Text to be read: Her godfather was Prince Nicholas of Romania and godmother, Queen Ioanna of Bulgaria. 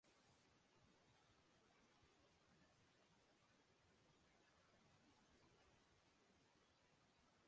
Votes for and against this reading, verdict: 0, 2, rejected